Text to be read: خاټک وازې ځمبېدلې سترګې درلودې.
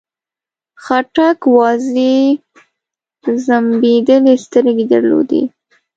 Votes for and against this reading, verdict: 1, 2, rejected